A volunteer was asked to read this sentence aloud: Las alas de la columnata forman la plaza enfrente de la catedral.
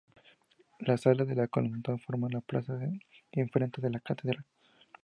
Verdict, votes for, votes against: rejected, 2, 2